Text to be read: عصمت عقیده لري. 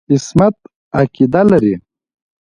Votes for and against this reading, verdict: 3, 1, accepted